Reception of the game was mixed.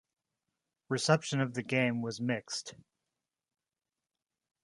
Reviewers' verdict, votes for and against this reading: accepted, 2, 0